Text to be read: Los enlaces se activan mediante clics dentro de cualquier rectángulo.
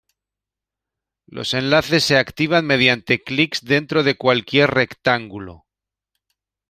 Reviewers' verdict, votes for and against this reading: accepted, 2, 0